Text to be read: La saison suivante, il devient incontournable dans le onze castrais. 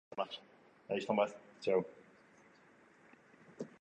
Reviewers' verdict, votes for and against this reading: rejected, 1, 2